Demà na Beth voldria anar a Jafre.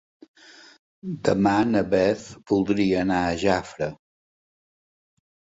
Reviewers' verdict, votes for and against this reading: accepted, 5, 0